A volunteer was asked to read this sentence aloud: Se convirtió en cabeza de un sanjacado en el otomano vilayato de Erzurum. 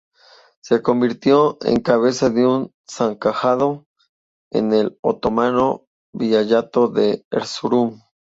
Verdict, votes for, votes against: rejected, 0, 2